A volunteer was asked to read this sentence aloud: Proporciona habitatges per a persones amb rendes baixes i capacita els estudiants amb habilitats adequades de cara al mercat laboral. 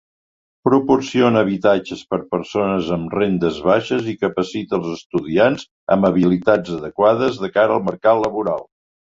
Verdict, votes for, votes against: rejected, 0, 2